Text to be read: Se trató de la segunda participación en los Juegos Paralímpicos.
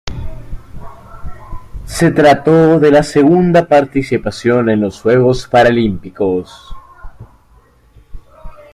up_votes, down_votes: 2, 0